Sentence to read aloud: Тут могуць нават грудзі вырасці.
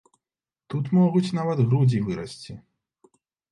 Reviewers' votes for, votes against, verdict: 2, 0, accepted